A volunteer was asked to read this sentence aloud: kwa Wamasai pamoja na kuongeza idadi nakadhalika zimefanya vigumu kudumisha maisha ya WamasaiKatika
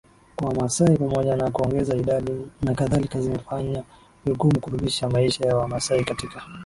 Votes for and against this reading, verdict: 3, 0, accepted